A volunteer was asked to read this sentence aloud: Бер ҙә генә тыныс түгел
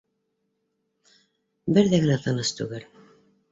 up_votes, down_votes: 2, 1